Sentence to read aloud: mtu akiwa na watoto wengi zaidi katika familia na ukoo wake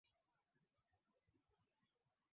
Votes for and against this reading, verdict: 0, 3, rejected